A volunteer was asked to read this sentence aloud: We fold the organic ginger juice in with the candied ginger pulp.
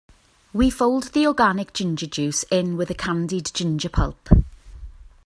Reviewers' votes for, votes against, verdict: 2, 0, accepted